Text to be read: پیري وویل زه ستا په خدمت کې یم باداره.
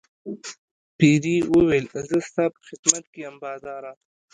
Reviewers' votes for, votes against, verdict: 3, 0, accepted